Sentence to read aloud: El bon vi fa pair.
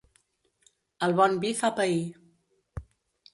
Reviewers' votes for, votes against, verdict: 3, 0, accepted